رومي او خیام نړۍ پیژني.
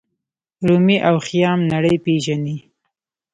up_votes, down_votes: 0, 2